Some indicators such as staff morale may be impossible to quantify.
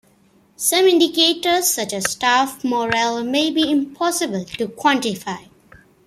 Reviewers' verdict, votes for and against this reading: accepted, 2, 0